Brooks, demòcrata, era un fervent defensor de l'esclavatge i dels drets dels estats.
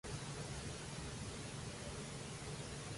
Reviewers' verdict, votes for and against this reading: rejected, 0, 2